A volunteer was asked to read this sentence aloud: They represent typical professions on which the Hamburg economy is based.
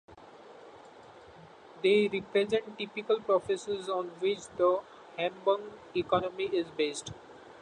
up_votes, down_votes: 1, 2